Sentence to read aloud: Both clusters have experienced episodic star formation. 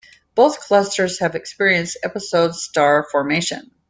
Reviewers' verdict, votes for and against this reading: rejected, 1, 2